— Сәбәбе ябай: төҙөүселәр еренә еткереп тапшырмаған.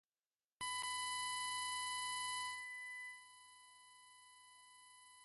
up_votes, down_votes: 0, 2